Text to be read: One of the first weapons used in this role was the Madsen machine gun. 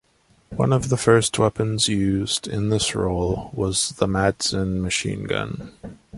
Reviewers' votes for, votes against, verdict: 2, 0, accepted